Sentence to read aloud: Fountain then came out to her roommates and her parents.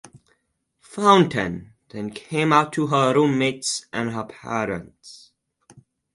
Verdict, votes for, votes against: accepted, 4, 2